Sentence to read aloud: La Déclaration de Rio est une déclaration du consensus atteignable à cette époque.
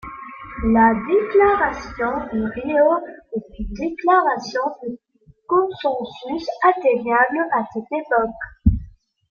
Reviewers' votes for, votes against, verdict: 1, 2, rejected